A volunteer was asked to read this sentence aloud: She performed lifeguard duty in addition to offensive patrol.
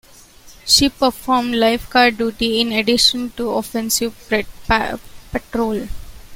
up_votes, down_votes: 0, 2